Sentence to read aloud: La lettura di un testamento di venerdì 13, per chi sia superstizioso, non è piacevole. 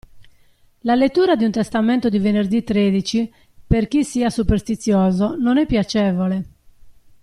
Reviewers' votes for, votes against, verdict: 0, 2, rejected